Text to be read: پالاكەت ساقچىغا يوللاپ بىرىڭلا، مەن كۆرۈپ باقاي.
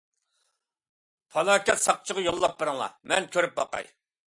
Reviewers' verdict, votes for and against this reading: accepted, 2, 0